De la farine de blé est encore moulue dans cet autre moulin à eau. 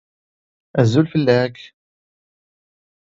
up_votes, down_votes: 0, 2